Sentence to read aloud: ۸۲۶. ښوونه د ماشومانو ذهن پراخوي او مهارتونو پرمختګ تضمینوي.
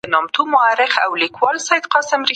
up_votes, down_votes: 0, 2